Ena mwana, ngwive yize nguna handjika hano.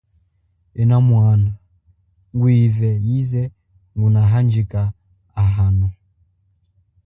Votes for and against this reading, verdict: 2, 0, accepted